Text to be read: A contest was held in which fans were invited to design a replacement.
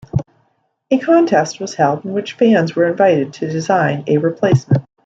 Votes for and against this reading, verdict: 2, 1, accepted